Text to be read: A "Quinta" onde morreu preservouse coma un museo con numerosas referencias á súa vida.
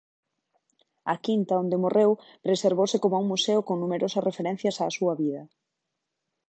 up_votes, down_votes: 2, 0